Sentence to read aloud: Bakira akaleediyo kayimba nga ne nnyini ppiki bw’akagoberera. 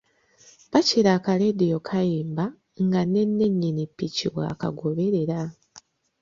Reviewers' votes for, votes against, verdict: 2, 0, accepted